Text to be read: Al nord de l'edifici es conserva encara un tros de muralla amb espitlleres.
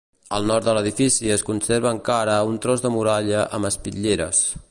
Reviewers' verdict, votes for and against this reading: accepted, 3, 0